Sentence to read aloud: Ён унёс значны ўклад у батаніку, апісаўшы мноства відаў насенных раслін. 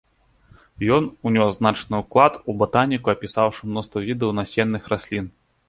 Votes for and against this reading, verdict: 2, 0, accepted